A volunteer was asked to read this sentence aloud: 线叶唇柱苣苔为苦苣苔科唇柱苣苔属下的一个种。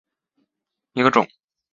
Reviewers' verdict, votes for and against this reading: rejected, 1, 3